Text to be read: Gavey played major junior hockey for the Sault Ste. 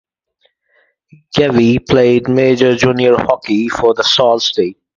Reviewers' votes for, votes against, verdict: 4, 0, accepted